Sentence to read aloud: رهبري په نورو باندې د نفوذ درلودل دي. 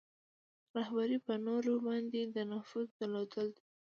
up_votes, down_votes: 2, 0